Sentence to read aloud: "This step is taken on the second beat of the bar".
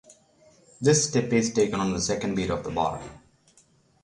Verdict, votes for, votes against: rejected, 3, 3